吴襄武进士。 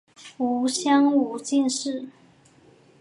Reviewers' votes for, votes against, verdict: 11, 0, accepted